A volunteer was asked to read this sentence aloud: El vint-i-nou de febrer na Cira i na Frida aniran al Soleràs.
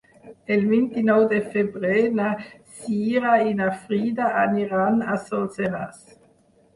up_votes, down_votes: 0, 4